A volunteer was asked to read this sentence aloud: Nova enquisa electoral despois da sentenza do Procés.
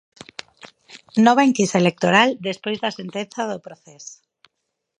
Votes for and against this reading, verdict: 4, 0, accepted